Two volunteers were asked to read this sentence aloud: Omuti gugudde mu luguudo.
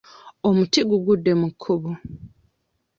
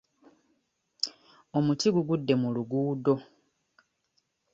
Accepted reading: second